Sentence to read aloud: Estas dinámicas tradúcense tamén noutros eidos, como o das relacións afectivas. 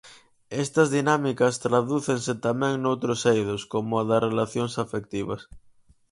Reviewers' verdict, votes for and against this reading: accepted, 4, 0